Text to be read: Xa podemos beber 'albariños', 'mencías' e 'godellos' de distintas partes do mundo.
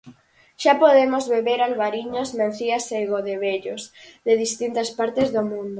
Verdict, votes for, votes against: rejected, 0, 4